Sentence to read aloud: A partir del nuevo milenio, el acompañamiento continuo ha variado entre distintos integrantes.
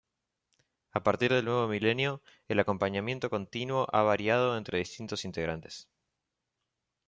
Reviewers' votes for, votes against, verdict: 2, 0, accepted